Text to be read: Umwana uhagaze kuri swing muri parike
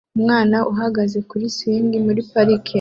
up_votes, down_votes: 2, 0